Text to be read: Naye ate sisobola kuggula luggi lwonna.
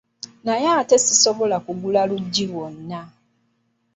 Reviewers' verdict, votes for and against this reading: rejected, 1, 2